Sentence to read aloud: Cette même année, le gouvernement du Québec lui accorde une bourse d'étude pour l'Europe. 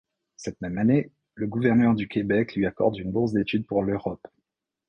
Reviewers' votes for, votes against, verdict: 1, 2, rejected